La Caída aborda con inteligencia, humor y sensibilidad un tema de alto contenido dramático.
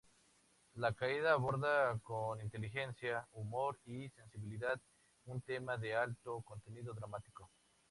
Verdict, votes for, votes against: accepted, 2, 0